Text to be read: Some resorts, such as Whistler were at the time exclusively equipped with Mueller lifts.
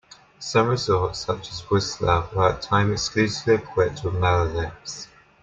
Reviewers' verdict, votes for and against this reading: accepted, 3, 0